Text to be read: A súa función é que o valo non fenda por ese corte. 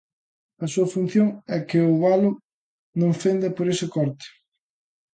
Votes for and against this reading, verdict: 2, 0, accepted